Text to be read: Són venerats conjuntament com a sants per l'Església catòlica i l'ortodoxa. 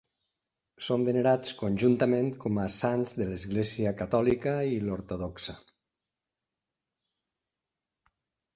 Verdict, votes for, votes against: rejected, 0, 2